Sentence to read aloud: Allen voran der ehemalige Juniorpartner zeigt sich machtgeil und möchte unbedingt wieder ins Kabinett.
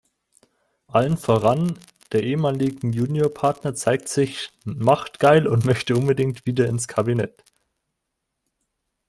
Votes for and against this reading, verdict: 0, 2, rejected